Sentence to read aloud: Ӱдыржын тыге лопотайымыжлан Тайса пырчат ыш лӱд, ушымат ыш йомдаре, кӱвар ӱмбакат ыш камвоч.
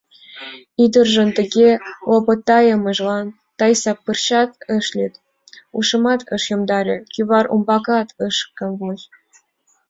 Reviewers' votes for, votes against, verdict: 3, 4, rejected